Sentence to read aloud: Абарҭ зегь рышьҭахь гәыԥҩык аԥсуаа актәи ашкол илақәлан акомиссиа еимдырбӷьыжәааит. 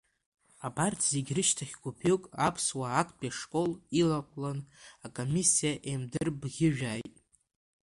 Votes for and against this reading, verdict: 2, 0, accepted